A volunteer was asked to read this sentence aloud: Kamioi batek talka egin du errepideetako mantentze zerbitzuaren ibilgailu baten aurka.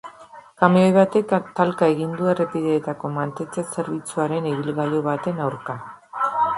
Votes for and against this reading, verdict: 2, 1, accepted